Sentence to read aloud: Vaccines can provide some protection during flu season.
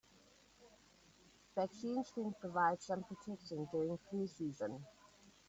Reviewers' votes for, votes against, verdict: 1, 2, rejected